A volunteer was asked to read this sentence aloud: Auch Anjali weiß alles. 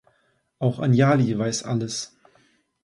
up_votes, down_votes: 2, 0